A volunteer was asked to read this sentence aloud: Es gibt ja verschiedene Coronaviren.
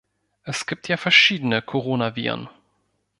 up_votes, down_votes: 2, 0